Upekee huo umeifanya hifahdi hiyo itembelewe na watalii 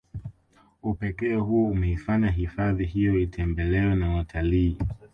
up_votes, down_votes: 2, 1